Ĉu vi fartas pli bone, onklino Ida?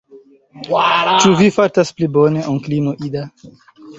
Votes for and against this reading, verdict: 1, 2, rejected